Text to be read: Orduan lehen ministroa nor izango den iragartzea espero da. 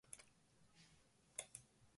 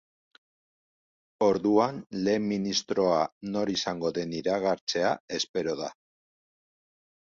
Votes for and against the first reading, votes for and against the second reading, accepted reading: 0, 2, 3, 0, second